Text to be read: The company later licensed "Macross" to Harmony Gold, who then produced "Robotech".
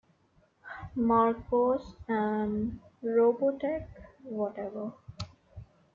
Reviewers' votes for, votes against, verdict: 0, 2, rejected